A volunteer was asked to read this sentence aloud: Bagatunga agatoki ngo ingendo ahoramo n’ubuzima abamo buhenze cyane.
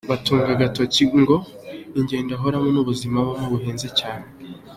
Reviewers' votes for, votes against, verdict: 2, 1, accepted